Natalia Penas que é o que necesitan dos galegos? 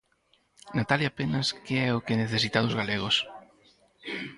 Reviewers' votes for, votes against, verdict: 0, 4, rejected